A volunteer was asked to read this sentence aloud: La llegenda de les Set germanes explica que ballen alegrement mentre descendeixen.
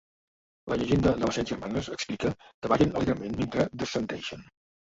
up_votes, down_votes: 0, 2